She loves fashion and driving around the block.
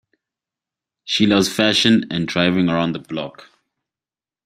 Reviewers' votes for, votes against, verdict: 2, 0, accepted